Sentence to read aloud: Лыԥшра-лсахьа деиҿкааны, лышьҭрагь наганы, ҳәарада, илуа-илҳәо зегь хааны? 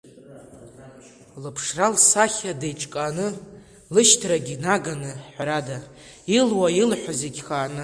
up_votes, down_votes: 1, 2